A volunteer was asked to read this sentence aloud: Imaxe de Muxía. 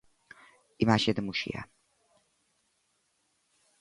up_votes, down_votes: 2, 0